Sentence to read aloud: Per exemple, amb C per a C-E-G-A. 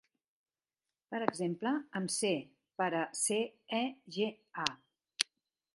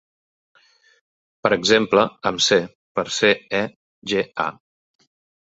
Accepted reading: first